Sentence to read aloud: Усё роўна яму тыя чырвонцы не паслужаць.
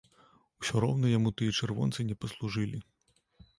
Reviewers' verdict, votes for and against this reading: rejected, 0, 2